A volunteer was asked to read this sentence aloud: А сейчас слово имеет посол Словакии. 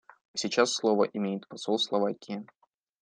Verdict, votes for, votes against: accepted, 2, 0